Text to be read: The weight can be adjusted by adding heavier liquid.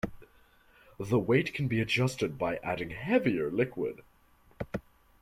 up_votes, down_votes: 2, 0